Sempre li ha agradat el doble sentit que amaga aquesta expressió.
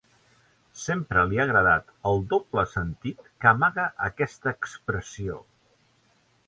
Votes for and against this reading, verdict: 4, 0, accepted